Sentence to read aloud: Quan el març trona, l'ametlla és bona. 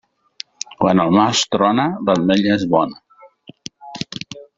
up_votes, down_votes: 0, 2